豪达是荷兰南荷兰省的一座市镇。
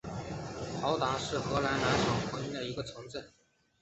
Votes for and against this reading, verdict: 2, 0, accepted